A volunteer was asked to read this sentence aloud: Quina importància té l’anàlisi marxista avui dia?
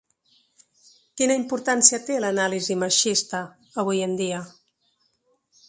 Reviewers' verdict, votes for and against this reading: rejected, 0, 2